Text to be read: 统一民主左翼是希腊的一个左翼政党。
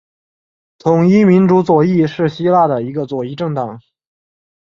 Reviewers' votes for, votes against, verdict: 3, 0, accepted